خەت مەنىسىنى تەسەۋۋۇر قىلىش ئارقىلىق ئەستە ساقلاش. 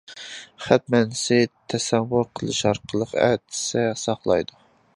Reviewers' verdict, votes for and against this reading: rejected, 0, 2